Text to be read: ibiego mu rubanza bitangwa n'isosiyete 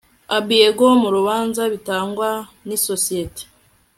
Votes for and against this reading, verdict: 0, 2, rejected